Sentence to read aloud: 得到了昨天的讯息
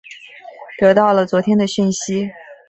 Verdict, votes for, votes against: accepted, 4, 0